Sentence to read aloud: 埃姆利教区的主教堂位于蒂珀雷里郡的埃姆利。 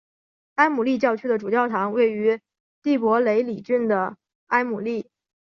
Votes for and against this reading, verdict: 4, 0, accepted